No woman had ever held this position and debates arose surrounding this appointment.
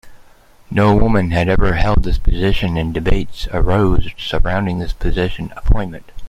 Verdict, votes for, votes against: accepted, 2, 1